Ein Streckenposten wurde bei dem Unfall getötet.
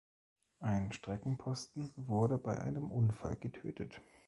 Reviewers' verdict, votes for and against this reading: rejected, 2, 3